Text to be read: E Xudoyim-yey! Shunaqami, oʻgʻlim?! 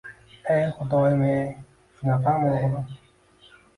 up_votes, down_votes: 2, 1